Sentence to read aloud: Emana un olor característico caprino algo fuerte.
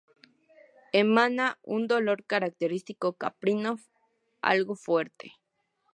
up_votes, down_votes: 0, 2